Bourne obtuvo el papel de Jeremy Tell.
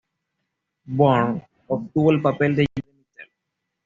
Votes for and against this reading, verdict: 1, 2, rejected